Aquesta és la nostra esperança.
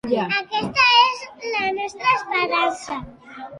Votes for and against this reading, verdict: 2, 1, accepted